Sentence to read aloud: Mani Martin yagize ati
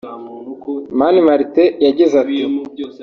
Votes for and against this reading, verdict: 2, 1, accepted